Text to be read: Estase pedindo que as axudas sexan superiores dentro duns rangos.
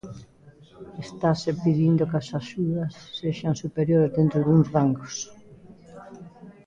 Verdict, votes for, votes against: rejected, 1, 2